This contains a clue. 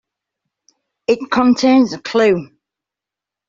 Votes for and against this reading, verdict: 1, 2, rejected